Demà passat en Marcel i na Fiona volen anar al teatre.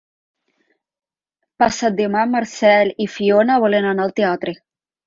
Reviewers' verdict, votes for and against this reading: rejected, 0, 3